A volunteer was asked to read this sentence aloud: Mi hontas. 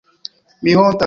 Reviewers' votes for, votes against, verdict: 1, 3, rejected